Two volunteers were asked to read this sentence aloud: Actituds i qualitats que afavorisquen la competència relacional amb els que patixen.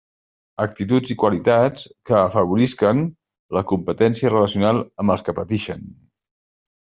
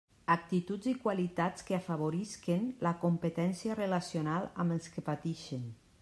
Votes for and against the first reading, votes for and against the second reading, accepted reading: 1, 2, 2, 0, second